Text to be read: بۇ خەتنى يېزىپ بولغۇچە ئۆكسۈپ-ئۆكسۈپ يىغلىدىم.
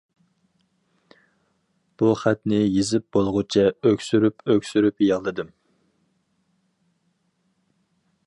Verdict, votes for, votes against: rejected, 0, 2